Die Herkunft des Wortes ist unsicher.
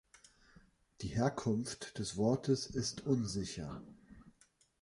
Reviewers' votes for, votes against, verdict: 2, 0, accepted